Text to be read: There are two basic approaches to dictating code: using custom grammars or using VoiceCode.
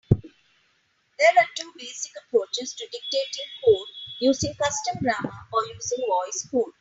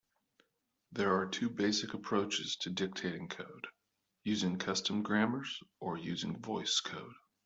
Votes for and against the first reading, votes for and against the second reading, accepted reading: 0, 2, 2, 0, second